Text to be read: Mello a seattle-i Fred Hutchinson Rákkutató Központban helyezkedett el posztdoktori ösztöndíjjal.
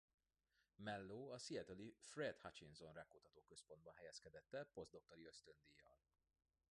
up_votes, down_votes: 1, 2